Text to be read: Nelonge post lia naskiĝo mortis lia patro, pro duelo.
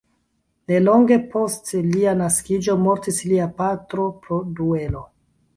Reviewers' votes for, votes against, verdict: 0, 2, rejected